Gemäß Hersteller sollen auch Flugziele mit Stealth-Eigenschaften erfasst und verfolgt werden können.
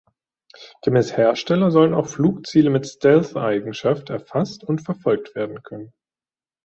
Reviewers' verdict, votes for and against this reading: rejected, 1, 2